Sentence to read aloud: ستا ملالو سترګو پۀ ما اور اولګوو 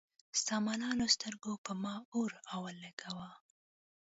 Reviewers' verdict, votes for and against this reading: accepted, 2, 0